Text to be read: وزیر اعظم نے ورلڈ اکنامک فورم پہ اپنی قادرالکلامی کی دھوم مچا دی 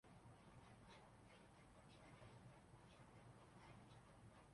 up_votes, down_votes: 0, 4